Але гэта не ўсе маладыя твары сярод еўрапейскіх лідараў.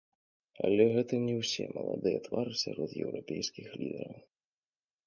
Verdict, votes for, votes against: rejected, 0, 2